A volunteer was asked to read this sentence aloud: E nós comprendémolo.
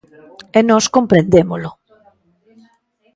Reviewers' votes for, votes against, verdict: 0, 2, rejected